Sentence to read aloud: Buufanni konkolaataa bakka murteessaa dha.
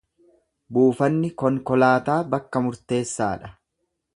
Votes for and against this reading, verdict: 2, 0, accepted